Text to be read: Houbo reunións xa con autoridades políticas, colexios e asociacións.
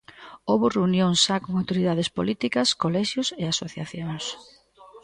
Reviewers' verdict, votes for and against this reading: rejected, 1, 2